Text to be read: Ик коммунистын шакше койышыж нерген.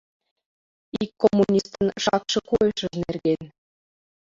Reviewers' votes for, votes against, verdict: 1, 2, rejected